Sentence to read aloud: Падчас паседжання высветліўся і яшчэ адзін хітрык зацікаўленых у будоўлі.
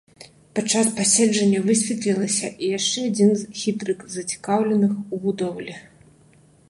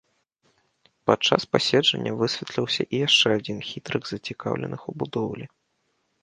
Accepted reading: second